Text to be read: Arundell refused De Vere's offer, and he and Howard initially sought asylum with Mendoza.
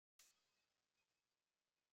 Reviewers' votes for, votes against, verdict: 0, 2, rejected